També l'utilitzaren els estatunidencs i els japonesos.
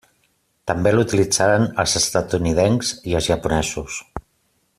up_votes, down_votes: 3, 0